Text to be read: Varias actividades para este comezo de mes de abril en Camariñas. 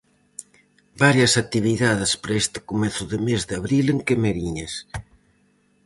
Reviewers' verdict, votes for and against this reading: rejected, 2, 2